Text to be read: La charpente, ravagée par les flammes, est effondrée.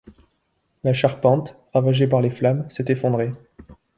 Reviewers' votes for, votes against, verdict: 0, 2, rejected